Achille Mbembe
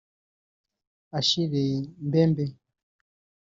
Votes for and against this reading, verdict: 0, 2, rejected